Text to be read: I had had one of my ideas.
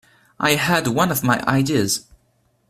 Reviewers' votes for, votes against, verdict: 2, 1, accepted